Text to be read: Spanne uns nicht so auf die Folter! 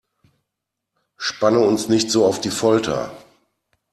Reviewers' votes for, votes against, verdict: 2, 0, accepted